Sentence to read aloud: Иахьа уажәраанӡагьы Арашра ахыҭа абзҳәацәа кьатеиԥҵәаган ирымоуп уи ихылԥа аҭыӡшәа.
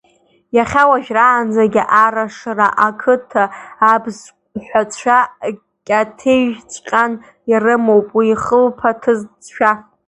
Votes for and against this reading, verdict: 1, 2, rejected